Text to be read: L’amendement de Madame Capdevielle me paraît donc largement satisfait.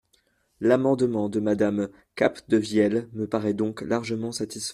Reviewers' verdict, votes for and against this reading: rejected, 0, 2